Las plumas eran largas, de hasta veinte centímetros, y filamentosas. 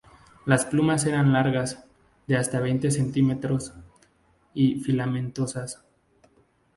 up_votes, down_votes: 2, 0